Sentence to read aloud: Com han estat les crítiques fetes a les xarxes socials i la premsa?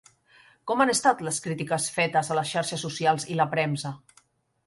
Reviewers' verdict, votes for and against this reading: accepted, 3, 0